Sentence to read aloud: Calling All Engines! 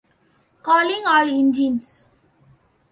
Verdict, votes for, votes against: rejected, 1, 2